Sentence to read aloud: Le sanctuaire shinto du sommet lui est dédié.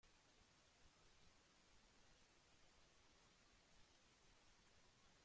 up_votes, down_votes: 0, 2